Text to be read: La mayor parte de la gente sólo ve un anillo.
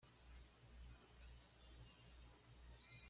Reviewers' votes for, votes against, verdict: 1, 2, rejected